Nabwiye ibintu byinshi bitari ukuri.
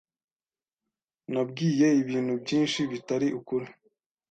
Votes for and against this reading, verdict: 2, 0, accepted